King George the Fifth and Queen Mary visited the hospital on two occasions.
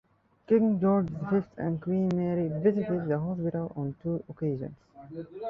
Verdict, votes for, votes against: rejected, 1, 2